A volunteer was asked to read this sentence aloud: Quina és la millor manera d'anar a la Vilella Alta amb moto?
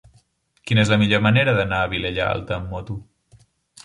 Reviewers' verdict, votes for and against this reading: rejected, 1, 2